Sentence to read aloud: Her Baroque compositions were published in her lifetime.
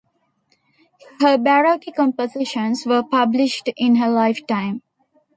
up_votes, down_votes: 2, 0